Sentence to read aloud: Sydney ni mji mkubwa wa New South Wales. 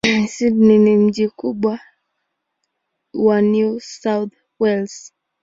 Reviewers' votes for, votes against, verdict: 4, 3, accepted